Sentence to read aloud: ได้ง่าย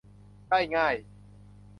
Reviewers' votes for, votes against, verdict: 2, 0, accepted